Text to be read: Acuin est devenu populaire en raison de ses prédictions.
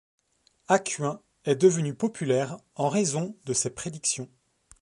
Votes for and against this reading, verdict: 2, 0, accepted